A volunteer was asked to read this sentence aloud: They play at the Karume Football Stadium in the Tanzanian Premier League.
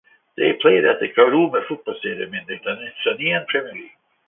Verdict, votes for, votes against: rejected, 1, 2